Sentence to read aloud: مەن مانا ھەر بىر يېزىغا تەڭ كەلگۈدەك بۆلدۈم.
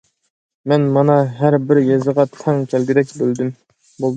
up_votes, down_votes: 0, 2